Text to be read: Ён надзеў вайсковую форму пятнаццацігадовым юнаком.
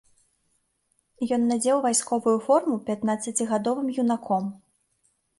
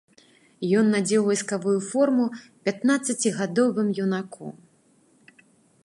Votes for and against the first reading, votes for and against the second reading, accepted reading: 2, 0, 1, 2, first